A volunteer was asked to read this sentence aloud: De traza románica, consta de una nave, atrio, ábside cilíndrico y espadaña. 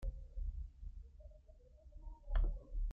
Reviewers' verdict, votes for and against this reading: rejected, 0, 2